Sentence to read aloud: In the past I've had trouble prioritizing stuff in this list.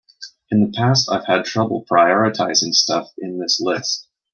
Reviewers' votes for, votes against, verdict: 2, 0, accepted